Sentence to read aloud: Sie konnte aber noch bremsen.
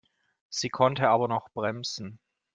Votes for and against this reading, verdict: 2, 0, accepted